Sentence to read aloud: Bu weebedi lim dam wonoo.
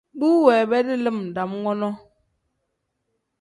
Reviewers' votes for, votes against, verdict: 2, 0, accepted